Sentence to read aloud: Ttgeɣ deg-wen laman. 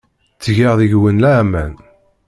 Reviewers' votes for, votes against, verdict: 0, 2, rejected